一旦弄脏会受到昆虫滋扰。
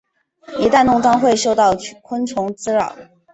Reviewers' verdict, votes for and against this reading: accepted, 2, 0